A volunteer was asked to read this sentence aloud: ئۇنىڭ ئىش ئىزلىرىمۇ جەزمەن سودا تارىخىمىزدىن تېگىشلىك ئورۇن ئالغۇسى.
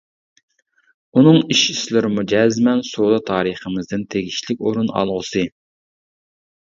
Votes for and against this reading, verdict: 0, 2, rejected